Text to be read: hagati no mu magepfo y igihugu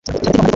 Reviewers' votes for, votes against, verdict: 2, 1, accepted